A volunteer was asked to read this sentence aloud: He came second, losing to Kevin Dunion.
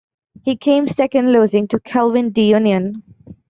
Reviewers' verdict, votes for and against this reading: rejected, 0, 2